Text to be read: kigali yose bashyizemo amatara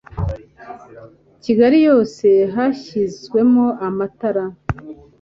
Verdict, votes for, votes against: accepted, 2, 0